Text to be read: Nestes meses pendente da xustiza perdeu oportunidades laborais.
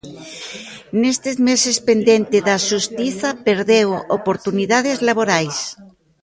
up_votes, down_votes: 0, 2